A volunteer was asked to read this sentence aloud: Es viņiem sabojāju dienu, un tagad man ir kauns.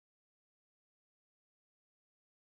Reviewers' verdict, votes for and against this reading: rejected, 0, 2